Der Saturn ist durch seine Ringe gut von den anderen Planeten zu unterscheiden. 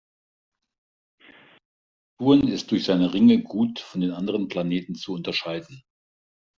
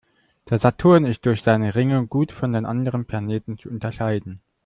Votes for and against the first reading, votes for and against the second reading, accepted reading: 0, 2, 2, 1, second